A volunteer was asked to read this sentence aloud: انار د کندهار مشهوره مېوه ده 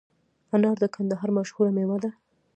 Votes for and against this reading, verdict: 2, 0, accepted